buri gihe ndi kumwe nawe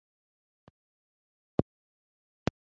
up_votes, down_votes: 1, 2